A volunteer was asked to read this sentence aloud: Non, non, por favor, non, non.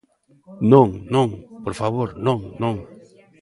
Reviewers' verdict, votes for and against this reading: accepted, 2, 0